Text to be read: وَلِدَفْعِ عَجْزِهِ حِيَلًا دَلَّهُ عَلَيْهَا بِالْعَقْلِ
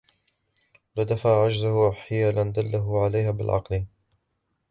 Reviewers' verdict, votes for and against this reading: rejected, 1, 2